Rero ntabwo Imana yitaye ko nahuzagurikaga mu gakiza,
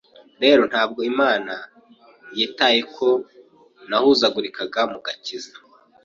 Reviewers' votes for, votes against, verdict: 4, 0, accepted